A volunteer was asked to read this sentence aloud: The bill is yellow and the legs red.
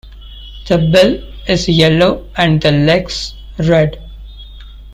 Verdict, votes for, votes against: rejected, 1, 2